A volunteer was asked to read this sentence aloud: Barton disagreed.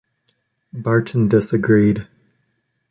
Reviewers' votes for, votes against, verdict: 2, 0, accepted